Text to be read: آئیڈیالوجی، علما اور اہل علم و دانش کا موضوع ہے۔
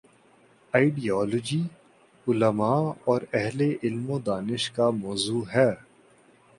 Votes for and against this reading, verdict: 2, 0, accepted